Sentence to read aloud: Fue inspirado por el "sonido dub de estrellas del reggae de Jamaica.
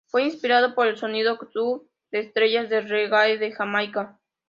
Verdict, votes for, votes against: accepted, 2, 0